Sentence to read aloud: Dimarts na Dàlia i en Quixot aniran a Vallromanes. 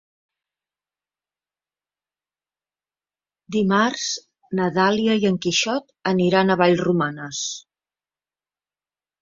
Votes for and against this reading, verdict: 3, 0, accepted